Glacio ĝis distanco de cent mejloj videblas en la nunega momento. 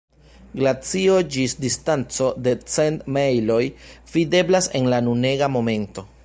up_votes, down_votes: 2, 0